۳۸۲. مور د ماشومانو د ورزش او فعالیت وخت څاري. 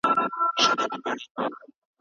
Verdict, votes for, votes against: rejected, 0, 2